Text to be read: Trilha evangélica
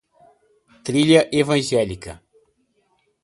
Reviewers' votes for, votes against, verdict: 2, 0, accepted